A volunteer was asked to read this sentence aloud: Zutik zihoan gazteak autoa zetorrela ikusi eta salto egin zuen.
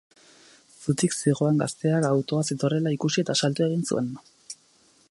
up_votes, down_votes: 4, 0